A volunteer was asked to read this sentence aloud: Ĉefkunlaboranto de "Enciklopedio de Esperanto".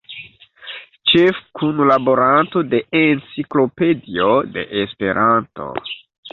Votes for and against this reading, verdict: 2, 0, accepted